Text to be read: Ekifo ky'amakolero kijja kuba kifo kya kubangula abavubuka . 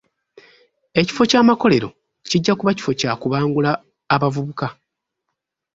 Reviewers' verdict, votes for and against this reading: accepted, 2, 1